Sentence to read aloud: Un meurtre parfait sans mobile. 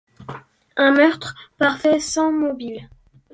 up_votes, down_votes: 2, 0